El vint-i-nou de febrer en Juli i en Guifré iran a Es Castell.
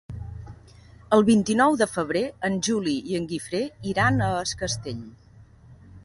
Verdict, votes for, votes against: accepted, 2, 0